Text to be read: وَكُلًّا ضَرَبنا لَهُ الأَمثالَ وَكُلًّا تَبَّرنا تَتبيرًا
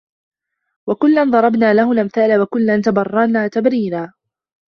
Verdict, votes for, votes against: rejected, 0, 2